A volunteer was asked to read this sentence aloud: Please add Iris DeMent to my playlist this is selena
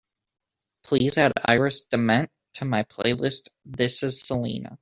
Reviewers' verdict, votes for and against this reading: accepted, 2, 0